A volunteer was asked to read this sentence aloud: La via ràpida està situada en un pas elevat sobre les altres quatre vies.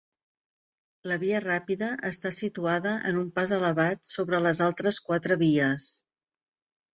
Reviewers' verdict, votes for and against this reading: accepted, 3, 0